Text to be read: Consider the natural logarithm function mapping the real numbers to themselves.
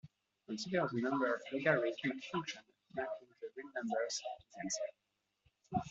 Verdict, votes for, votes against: rejected, 0, 2